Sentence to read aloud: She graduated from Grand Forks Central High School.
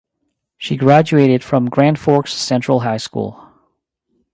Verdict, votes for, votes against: accepted, 2, 0